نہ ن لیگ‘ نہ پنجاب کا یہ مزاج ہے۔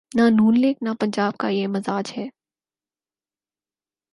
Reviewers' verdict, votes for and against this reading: accepted, 6, 0